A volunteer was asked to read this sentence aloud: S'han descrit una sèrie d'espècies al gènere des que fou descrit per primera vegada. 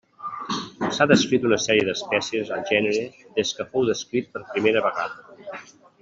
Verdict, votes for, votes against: rejected, 1, 2